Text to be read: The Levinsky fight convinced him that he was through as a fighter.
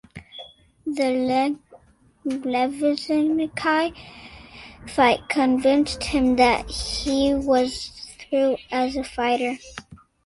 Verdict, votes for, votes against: accepted, 2, 0